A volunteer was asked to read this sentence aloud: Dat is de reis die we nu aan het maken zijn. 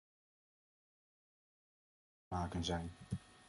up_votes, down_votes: 0, 2